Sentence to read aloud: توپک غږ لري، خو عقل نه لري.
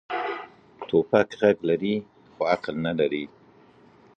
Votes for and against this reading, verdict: 2, 1, accepted